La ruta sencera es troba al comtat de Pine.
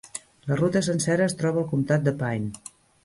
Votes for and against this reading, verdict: 1, 2, rejected